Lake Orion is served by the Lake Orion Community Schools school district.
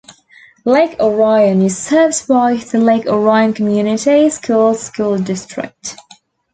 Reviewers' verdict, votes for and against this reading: rejected, 0, 2